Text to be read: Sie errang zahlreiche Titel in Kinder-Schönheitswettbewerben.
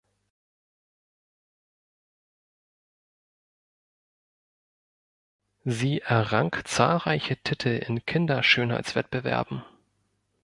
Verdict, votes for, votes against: rejected, 0, 2